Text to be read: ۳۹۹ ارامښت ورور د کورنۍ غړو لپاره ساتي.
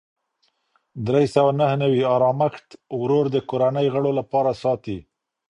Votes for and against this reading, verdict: 0, 2, rejected